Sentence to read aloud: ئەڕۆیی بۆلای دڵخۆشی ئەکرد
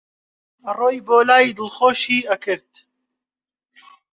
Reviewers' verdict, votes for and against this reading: rejected, 1, 2